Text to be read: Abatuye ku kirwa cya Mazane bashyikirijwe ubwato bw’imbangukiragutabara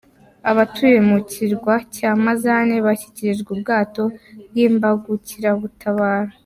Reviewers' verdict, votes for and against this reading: rejected, 1, 2